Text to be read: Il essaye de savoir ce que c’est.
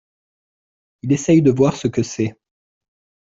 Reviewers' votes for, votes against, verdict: 0, 2, rejected